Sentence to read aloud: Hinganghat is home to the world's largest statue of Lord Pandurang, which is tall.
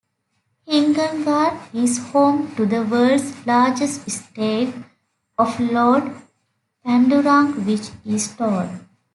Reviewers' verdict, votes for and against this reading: rejected, 0, 2